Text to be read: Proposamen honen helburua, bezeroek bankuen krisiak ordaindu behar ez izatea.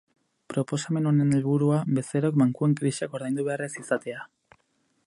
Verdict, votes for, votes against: accepted, 4, 0